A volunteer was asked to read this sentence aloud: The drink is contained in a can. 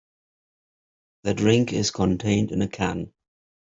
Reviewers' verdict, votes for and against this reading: accepted, 2, 0